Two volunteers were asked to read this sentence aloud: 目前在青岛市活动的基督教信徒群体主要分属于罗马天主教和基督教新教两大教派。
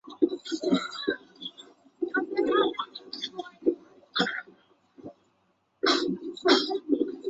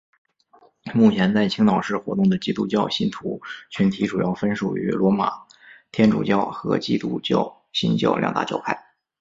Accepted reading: second